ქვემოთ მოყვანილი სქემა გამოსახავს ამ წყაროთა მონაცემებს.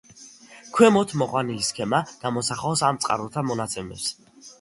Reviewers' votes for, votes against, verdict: 2, 0, accepted